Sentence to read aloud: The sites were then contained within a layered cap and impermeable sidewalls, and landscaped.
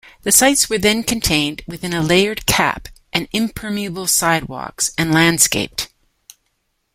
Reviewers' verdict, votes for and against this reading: rejected, 1, 2